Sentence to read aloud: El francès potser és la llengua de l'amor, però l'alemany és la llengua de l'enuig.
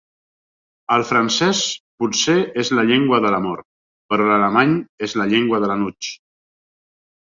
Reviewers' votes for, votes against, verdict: 4, 0, accepted